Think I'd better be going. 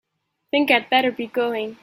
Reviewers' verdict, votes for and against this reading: accepted, 2, 0